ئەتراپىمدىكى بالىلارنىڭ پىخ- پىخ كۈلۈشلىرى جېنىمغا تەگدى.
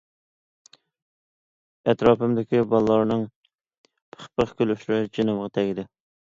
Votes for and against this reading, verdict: 2, 0, accepted